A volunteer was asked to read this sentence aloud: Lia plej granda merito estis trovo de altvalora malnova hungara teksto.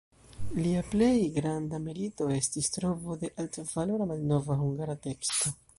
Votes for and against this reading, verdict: 2, 1, accepted